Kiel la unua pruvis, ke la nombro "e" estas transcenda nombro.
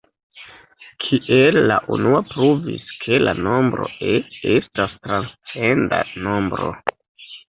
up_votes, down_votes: 1, 2